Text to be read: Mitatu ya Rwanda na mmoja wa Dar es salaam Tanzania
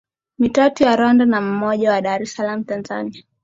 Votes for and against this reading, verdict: 2, 0, accepted